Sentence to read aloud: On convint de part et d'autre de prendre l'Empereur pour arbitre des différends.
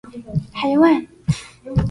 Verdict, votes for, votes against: rejected, 0, 2